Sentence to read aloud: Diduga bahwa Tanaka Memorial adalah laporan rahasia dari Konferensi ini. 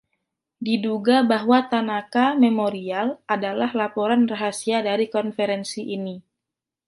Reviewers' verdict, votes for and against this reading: rejected, 1, 2